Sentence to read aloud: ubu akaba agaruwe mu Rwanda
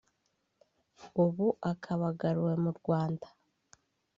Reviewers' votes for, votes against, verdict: 2, 0, accepted